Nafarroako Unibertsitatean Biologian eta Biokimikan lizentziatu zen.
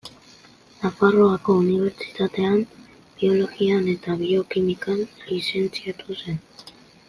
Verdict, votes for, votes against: accepted, 2, 0